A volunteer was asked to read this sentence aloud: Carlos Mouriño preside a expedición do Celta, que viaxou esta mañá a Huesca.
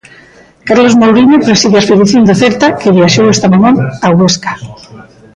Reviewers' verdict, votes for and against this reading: rejected, 0, 2